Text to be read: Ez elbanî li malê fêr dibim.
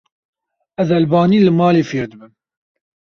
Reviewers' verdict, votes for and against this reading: accepted, 2, 0